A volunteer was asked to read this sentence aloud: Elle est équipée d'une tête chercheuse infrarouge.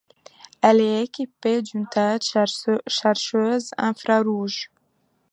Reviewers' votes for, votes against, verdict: 0, 2, rejected